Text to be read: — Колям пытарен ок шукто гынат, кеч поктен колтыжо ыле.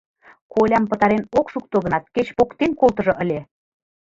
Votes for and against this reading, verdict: 1, 4, rejected